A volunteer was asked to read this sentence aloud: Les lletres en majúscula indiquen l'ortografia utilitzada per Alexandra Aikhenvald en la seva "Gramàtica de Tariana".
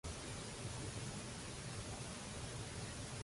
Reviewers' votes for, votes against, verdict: 0, 2, rejected